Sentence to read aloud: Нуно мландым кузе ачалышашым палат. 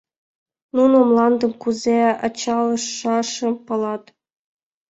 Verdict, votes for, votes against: accepted, 2, 0